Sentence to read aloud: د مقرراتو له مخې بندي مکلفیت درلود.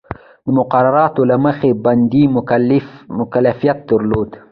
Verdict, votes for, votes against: accepted, 2, 0